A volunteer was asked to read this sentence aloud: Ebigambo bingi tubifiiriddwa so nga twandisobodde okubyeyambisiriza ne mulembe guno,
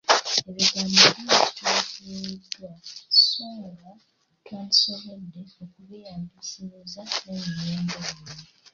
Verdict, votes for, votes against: rejected, 0, 2